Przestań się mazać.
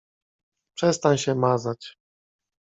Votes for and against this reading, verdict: 2, 0, accepted